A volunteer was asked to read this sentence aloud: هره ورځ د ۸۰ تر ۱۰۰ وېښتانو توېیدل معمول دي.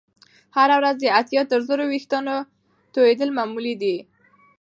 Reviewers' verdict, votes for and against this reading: rejected, 0, 2